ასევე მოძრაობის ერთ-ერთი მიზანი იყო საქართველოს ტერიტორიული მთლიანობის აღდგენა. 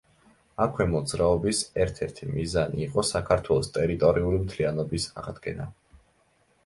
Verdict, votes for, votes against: rejected, 0, 2